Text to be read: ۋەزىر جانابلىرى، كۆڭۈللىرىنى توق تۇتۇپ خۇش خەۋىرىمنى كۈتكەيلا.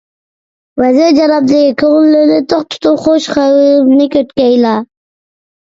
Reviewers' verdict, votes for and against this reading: rejected, 1, 2